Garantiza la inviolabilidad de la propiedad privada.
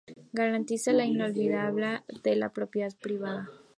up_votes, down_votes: 2, 0